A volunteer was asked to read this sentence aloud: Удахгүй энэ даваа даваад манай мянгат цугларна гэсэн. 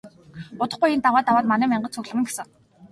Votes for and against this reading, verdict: 2, 0, accepted